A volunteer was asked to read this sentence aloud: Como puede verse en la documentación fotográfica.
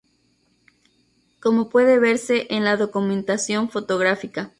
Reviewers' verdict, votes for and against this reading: rejected, 0, 2